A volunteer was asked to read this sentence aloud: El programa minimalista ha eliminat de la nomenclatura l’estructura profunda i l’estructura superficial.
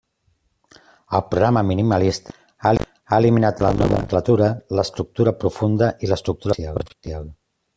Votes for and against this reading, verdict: 0, 2, rejected